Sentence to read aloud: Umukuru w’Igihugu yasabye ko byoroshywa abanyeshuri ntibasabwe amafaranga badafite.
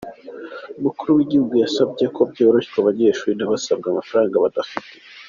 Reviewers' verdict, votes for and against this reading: accepted, 2, 0